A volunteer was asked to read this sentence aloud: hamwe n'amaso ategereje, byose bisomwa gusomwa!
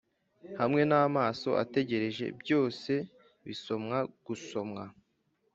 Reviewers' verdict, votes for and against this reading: accepted, 2, 0